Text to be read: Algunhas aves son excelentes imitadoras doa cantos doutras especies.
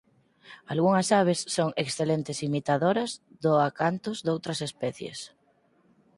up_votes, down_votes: 2, 2